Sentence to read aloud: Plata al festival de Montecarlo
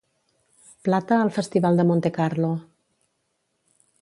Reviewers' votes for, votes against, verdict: 3, 0, accepted